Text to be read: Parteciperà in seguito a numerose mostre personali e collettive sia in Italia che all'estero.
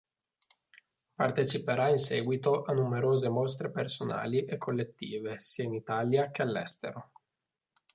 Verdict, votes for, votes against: accepted, 3, 0